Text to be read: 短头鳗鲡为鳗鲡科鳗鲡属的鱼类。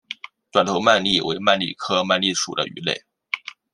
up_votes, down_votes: 2, 0